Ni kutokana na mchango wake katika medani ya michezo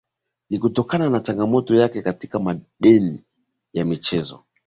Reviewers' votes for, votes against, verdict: 2, 3, rejected